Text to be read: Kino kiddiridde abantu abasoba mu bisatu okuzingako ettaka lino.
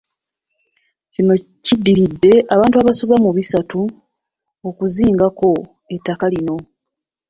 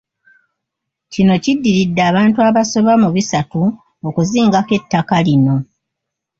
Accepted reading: second